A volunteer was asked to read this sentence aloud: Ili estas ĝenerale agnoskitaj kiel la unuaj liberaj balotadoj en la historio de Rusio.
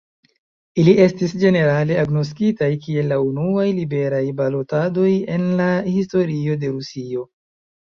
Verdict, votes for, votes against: rejected, 0, 2